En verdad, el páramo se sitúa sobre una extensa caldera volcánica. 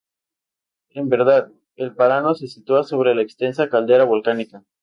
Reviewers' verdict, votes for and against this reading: rejected, 0, 2